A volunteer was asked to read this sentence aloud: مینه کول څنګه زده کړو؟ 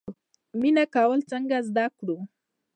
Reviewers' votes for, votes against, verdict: 0, 2, rejected